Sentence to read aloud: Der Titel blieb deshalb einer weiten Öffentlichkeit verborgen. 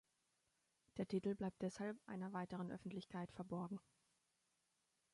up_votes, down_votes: 0, 2